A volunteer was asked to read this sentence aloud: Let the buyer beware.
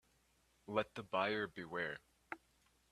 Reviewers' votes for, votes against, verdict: 2, 0, accepted